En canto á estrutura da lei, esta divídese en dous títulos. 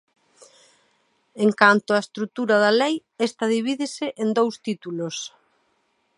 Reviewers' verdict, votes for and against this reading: accepted, 2, 0